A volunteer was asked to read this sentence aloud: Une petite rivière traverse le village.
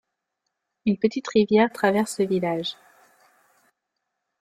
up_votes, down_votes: 2, 0